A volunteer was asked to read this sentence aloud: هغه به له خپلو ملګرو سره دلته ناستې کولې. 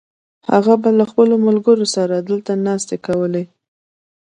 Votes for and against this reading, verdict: 2, 0, accepted